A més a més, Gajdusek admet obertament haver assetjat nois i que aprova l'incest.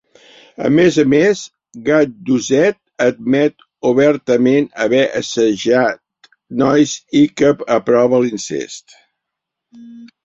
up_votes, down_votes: 0, 2